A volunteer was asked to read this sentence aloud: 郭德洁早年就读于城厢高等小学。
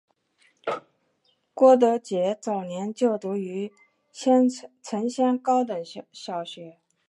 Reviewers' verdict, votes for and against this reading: rejected, 1, 2